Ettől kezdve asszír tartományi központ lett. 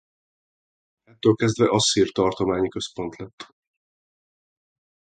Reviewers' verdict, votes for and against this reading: rejected, 0, 2